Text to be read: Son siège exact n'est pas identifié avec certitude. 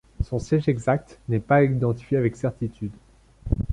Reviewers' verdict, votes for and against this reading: accepted, 2, 0